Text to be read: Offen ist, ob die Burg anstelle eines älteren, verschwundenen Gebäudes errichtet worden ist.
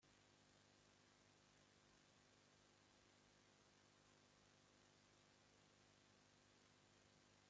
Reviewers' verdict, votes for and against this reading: rejected, 0, 2